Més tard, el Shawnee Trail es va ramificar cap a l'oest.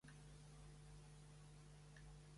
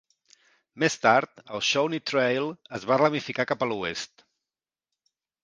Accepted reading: second